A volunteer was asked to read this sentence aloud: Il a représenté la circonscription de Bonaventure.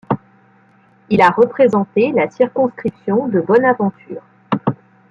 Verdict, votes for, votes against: accepted, 2, 0